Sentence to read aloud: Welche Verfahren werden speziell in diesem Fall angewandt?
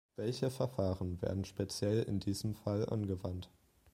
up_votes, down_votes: 2, 0